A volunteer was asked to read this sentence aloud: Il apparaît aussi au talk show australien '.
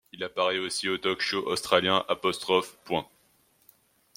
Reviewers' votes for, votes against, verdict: 1, 2, rejected